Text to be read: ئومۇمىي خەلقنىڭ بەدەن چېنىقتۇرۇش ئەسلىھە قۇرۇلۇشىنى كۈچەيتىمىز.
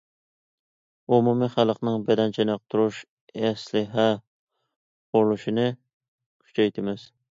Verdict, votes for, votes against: accepted, 2, 0